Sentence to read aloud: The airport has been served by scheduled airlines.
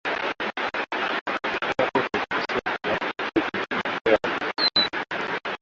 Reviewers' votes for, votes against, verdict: 0, 2, rejected